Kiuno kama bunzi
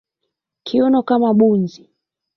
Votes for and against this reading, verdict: 2, 0, accepted